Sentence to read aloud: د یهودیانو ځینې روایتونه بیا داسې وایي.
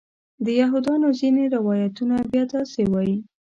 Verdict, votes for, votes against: accepted, 2, 1